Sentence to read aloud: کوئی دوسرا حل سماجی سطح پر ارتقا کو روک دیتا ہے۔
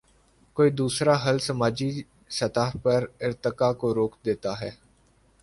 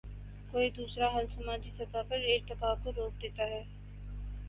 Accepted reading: first